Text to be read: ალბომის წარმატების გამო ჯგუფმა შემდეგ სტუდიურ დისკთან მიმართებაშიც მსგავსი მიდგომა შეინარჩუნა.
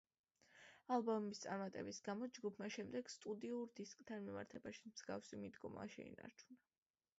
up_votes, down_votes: 1, 2